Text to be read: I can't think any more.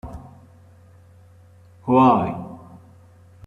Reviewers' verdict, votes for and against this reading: rejected, 1, 3